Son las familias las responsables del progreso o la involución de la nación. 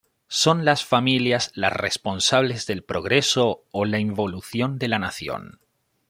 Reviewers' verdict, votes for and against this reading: accepted, 2, 0